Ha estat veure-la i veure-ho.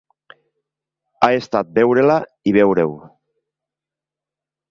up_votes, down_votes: 2, 0